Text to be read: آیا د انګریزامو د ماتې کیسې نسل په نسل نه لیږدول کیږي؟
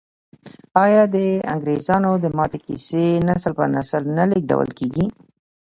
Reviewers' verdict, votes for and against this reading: accepted, 2, 0